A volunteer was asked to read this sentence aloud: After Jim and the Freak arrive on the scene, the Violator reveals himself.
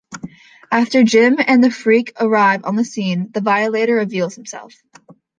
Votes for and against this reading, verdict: 2, 0, accepted